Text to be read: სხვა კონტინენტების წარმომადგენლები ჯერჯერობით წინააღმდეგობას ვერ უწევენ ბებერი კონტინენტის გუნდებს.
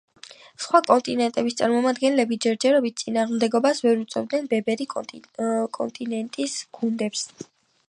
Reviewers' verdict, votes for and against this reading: rejected, 0, 2